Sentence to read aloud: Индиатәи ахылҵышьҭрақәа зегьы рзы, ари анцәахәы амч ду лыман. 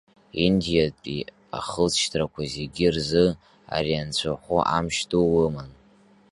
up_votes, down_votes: 0, 2